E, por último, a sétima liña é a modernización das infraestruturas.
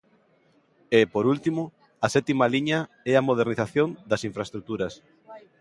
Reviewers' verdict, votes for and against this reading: accepted, 2, 0